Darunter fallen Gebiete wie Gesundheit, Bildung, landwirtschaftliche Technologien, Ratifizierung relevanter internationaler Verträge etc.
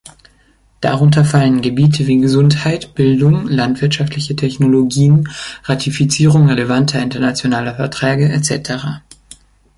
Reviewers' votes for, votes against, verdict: 3, 0, accepted